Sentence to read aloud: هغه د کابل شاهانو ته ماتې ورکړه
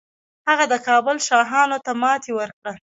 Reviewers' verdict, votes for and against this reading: rejected, 1, 2